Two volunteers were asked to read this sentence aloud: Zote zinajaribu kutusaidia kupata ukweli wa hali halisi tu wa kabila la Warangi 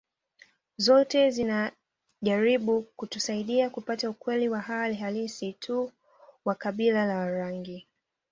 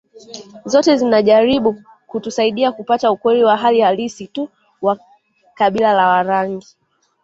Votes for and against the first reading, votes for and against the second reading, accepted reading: 2, 0, 1, 2, first